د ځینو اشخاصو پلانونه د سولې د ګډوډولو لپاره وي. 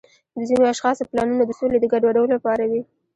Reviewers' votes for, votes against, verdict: 2, 1, accepted